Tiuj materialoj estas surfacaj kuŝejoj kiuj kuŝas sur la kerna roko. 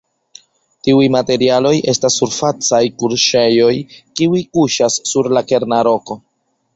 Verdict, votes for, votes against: rejected, 2, 3